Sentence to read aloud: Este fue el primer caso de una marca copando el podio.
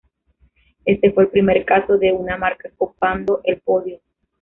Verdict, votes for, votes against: accepted, 2, 0